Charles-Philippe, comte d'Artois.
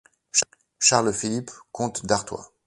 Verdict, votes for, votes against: rejected, 0, 2